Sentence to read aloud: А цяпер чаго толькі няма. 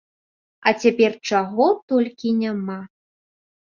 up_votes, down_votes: 2, 0